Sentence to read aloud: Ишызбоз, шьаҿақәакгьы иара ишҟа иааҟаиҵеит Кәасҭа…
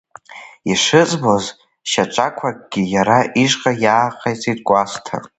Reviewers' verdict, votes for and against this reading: rejected, 0, 2